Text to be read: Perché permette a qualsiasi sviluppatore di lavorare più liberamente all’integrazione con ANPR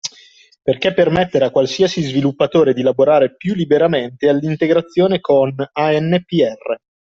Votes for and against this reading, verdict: 1, 2, rejected